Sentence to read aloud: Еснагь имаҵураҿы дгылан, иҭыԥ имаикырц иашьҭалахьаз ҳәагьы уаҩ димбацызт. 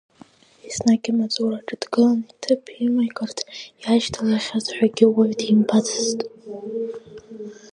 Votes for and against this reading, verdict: 2, 1, accepted